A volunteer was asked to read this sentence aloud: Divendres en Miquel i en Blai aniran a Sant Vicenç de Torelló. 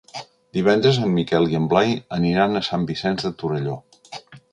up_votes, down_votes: 4, 0